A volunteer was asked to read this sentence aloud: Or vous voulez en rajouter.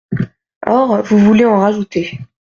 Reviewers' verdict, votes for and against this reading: accepted, 2, 0